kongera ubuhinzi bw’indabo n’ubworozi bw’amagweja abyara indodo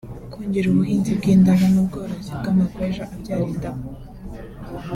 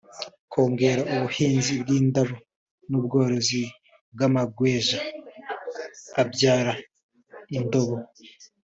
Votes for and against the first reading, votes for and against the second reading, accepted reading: 0, 3, 2, 1, second